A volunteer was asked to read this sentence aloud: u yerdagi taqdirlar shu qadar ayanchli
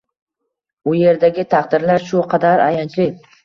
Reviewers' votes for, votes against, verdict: 1, 2, rejected